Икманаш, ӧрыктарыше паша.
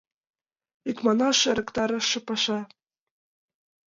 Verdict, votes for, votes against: accepted, 2, 0